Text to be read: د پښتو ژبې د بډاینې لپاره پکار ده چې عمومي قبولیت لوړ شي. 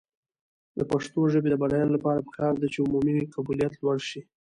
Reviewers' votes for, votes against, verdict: 2, 0, accepted